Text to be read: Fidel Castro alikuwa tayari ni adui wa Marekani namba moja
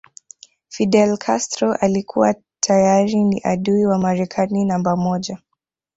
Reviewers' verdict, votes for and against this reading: rejected, 1, 2